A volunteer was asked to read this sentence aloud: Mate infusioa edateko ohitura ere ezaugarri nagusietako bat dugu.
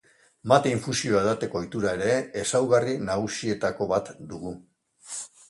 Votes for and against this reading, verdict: 3, 0, accepted